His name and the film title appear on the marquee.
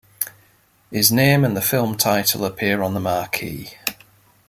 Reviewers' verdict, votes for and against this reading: accepted, 2, 0